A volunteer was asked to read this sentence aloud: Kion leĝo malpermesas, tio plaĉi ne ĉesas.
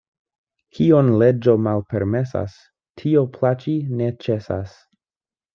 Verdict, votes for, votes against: accepted, 2, 0